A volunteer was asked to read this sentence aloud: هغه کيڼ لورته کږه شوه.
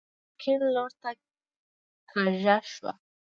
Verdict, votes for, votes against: rejected, 0, 2